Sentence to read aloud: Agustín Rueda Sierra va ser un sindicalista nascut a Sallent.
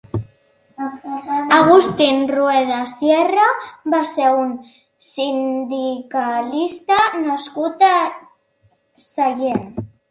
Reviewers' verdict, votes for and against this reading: accepted, 4, 1